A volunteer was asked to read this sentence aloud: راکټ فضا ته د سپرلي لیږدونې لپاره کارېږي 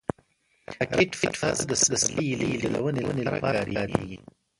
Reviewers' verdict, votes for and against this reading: rejected, 1, 2